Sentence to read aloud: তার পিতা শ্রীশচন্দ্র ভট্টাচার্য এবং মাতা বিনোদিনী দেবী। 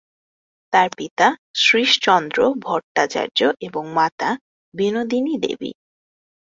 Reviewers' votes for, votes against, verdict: 2, 0, accepted